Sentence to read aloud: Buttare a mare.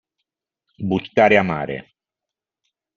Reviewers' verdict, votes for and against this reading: rejected, 1, 2